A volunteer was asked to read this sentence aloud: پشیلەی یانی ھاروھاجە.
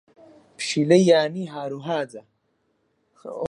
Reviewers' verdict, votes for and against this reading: rejected, 2, 4